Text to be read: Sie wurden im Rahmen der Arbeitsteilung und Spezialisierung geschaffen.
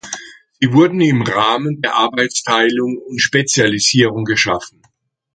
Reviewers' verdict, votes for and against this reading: rejected, 1, 2